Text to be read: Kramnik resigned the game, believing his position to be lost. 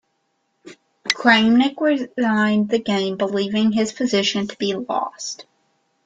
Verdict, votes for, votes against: accepted, 2, 0